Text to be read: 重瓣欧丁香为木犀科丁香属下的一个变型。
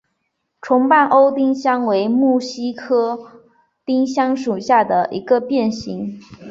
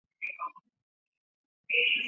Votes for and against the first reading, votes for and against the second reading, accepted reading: 5, 0, 0, 2, first